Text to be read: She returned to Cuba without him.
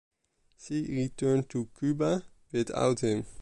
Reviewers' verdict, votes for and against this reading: rejected, 1, 2